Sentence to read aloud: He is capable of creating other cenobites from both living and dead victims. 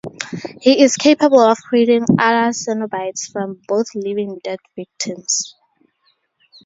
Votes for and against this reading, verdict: 0, 2, rejected